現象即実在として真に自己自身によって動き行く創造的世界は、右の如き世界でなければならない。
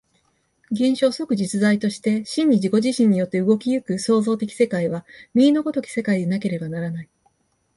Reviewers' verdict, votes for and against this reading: accepted, 2, 0